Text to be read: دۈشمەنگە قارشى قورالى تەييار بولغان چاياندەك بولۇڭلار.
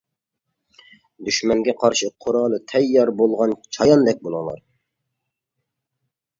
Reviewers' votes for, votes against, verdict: 2, 0, accepted